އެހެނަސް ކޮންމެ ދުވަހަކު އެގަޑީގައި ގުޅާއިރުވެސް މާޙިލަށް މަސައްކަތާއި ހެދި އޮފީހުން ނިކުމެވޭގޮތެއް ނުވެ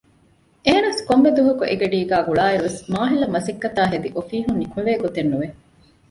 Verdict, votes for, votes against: accepted, 2, 0